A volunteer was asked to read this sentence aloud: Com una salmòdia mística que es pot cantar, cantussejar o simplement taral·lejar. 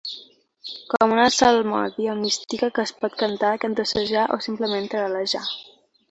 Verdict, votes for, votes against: rejected, 2, 3